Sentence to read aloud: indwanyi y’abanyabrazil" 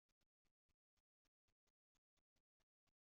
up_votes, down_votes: 0, 3